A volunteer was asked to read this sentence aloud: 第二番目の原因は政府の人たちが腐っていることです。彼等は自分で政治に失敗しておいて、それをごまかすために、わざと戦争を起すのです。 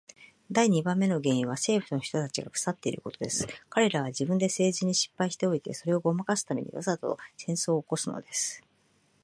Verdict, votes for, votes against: rejected, 0, 2